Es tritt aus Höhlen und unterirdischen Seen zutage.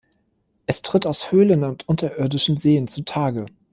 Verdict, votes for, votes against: accepted, 2, 0